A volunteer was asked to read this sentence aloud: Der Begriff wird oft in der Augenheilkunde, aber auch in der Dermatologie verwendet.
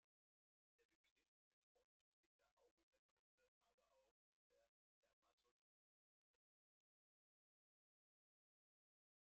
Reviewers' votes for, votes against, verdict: 0, 2, rejected